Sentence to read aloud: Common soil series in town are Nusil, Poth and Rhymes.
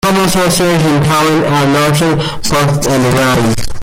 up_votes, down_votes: 0, 2